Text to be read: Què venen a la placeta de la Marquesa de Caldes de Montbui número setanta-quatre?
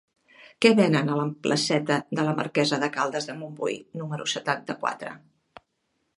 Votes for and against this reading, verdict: 1, 2, rejected